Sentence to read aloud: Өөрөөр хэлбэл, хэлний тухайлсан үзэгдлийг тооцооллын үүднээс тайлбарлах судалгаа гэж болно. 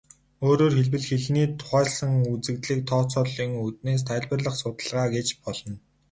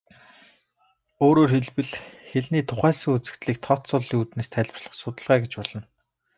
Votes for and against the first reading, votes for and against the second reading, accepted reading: 0, 2, 2, 0, second